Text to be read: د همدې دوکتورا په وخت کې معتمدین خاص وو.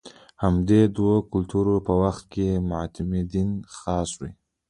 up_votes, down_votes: 3, 1